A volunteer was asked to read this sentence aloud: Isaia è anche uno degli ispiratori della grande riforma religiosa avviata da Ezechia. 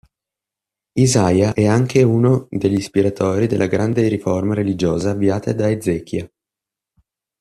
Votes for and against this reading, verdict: 1, 2, rejected